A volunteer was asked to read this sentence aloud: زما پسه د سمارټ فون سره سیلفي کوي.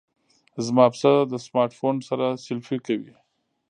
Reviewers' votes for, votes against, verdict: 1, 2, rejected